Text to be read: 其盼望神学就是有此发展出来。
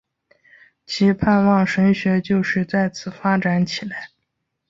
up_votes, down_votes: 2, 4